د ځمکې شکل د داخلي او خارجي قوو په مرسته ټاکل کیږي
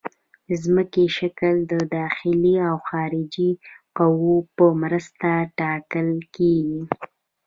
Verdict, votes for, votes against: rejected, 1, 2